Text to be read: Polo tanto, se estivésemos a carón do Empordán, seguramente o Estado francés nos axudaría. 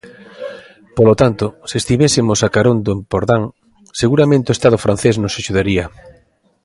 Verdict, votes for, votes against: accepted, 2, 1